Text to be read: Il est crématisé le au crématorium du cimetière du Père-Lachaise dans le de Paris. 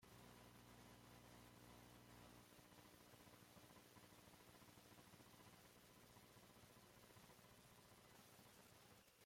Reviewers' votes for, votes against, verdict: 0, 2, rejected